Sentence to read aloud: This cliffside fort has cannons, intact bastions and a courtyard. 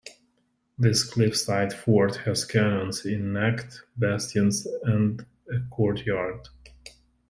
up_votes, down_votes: 1, 2